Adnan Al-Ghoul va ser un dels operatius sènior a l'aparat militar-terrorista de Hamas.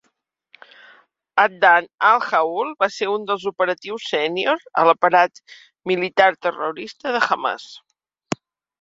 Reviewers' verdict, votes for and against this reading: accepted, 2, 1